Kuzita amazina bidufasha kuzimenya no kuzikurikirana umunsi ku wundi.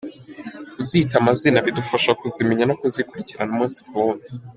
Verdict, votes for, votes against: rejected, 1, 2